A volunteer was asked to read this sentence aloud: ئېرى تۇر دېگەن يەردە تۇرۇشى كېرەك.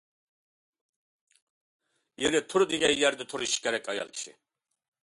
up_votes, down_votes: 1, 2